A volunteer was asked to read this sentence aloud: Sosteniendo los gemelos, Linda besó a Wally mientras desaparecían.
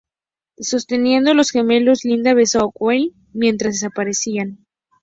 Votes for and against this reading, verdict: 2, 0, accepted